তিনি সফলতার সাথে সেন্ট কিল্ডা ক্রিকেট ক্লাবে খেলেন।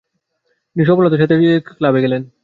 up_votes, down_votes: 0, 2